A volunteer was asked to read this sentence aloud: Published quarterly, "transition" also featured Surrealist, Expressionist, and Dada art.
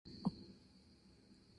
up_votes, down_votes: 0, 2